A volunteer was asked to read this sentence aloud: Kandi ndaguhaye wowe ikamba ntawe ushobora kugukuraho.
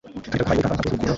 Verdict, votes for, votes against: rejected, 1, 2